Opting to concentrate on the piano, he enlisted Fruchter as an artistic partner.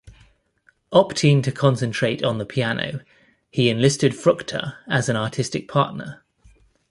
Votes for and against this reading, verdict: 2, 0, accepted